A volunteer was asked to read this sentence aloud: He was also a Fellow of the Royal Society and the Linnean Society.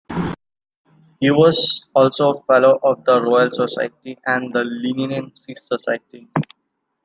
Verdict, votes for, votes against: accepted, 2, 0